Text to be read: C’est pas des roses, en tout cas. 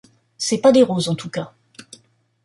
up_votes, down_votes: 2, 0